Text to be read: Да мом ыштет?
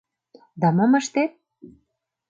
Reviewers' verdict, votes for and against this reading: accepted, 2, 0